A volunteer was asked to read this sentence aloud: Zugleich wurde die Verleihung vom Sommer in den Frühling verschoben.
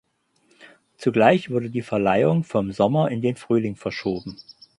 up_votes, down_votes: 4, 0